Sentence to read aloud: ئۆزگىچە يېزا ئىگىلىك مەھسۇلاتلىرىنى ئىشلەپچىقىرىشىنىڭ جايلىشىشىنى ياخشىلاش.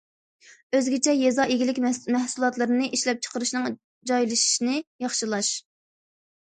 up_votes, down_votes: 1, 2